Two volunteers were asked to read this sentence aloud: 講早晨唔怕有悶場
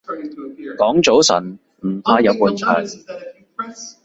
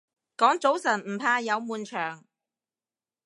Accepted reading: second